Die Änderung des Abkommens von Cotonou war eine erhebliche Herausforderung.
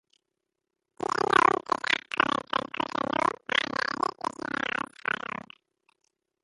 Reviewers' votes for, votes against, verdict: 0, 3, rejected